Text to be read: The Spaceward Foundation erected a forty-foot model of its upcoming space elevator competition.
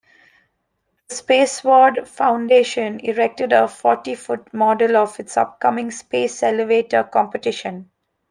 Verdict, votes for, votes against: rejected, 1, 2